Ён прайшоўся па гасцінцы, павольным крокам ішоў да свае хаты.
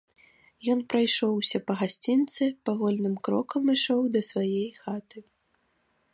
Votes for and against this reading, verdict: 2, 0, accepted